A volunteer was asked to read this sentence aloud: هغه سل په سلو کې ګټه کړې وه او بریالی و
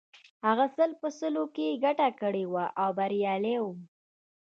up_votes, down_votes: 1, 2